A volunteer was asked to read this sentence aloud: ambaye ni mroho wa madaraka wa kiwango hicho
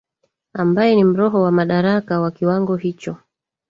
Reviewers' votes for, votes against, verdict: 1, 2, rejected